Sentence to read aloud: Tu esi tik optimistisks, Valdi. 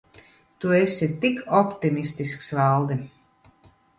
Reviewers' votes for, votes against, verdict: 2, 0, accepted